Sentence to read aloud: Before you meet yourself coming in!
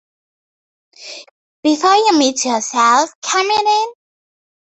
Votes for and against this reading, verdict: 2, 0, accepted